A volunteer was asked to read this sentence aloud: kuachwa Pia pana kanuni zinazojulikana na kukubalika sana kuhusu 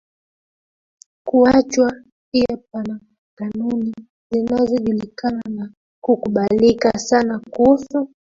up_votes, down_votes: 0, 2